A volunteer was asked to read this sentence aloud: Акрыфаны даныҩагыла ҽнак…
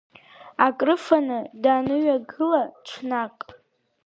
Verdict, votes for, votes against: accepted, 3, 0